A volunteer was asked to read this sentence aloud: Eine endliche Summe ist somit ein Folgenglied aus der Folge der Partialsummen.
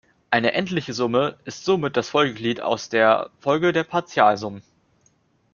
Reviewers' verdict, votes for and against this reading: rejected, 0, 2